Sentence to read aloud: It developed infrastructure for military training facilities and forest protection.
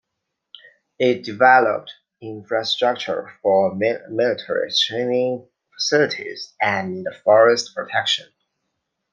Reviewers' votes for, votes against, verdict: 0, 2, rejected